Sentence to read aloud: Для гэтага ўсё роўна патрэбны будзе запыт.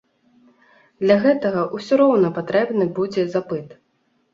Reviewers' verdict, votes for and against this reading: accepted, 2, 0